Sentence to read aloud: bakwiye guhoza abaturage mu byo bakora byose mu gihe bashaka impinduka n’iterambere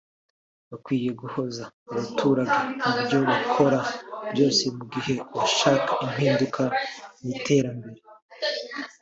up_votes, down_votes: 1, 2